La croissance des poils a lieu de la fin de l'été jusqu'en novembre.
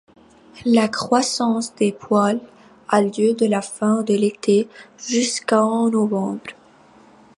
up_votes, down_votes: 2, 1